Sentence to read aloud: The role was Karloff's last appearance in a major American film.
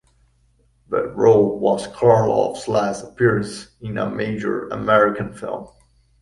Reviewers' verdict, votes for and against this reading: rejected, 0, 2